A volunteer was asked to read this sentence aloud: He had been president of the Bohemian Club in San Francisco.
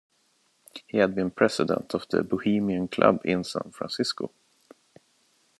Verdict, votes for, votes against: rejected, 1, 2